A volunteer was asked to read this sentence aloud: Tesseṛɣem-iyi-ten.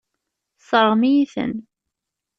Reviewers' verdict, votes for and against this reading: accepted, 2, 0